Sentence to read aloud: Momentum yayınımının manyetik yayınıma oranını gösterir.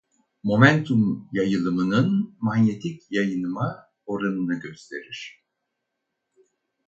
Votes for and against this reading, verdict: 2, 2, rejected